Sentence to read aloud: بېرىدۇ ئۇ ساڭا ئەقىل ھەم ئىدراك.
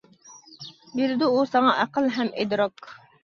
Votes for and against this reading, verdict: 2, 0, accepted